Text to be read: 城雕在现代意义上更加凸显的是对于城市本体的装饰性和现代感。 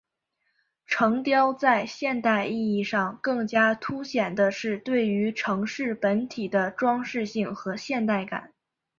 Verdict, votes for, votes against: accepted, 2, 0